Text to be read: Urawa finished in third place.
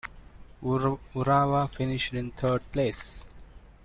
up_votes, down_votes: 0, 2